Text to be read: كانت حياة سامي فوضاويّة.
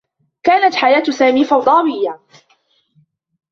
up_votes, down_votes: 0, 2